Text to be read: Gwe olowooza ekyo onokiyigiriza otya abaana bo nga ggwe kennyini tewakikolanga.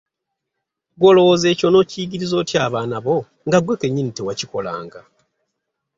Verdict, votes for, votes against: accepted, 2, 0